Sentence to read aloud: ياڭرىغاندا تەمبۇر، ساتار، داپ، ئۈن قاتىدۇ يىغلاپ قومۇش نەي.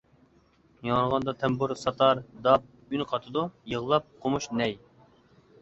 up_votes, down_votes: 2, 0